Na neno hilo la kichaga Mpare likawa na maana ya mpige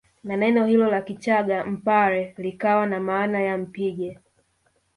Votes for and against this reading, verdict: 1, 2, rejected